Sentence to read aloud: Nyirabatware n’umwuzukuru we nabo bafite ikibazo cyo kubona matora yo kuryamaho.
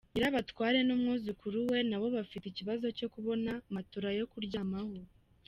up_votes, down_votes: 1, 2